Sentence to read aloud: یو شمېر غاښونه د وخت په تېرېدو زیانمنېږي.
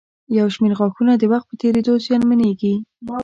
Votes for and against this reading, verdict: 2, 0, accepted